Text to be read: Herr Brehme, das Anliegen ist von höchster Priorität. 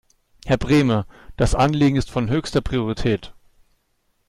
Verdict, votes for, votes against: accepted, 2, 0